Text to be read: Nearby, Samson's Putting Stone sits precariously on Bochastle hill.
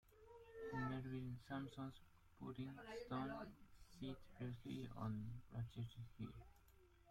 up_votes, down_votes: 0, 2